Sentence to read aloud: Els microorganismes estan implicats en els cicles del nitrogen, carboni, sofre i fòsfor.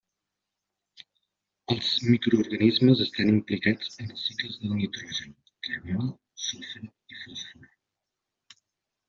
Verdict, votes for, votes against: rejected, 1, 2